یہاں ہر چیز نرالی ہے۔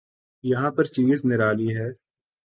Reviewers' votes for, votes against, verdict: 2, 0, accepted